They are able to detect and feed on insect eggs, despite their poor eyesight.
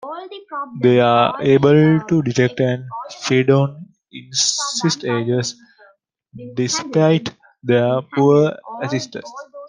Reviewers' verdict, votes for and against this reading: rejected, 0, 2